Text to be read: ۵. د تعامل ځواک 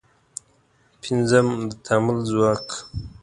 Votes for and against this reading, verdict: 0, 2, rejected